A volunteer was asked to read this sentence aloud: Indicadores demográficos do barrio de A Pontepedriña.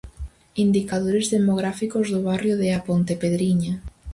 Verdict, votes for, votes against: accepted, 4, 0